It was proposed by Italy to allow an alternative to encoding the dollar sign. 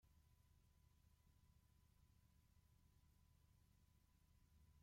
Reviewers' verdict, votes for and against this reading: rejected, 0, 2